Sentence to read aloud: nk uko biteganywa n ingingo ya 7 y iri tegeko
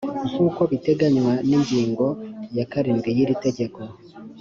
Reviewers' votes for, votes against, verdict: 0, 2, rejected